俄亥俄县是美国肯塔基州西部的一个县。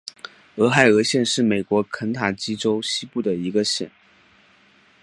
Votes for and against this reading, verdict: 2, 0, accepted